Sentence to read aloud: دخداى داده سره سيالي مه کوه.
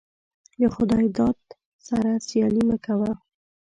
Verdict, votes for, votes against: accepted, 2, 0